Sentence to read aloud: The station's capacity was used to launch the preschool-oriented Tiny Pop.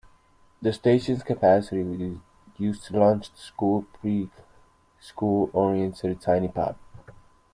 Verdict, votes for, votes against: rejected, 0, 2